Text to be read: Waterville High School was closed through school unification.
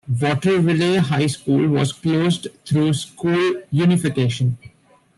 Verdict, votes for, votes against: rejected, 1, 2